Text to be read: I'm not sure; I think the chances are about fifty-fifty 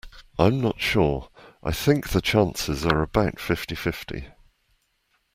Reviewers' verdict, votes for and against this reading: accepted, 2, 0